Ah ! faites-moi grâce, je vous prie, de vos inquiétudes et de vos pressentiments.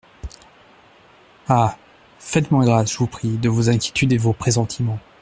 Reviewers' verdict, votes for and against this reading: rejected, 1, 2